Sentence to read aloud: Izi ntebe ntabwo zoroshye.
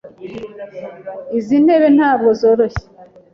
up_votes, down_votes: 2, 0